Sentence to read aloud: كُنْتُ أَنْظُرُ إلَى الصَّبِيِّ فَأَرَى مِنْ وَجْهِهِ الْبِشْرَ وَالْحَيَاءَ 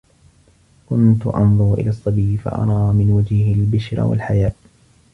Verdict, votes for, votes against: rejected, 1, 2